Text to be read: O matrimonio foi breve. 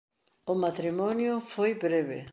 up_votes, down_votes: 2, 0